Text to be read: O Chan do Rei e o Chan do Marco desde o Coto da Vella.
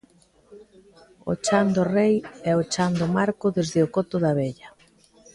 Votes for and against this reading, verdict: 2, 0, accepted